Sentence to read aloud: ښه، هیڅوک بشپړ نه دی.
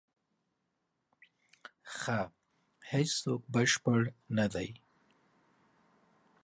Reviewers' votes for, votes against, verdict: 2, 0, accepted